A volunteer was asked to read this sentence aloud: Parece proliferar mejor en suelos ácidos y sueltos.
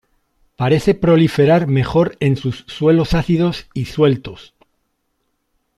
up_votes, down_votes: 1, 2